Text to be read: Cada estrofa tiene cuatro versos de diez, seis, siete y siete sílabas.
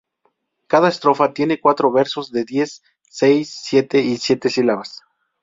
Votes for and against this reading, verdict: 2, 0, accepted